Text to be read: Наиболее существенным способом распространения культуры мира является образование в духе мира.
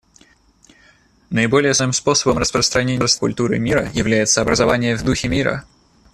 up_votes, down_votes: 0, 2